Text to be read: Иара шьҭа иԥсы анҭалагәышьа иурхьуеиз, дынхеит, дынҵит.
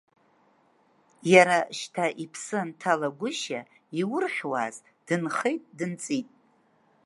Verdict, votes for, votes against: rejected, 1, 2